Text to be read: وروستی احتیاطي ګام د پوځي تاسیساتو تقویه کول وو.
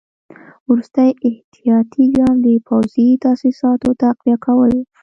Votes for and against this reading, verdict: 3, 0, accepted